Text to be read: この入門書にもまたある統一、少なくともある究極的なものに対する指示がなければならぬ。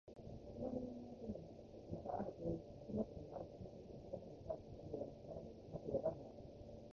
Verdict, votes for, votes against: rejected, 0, 2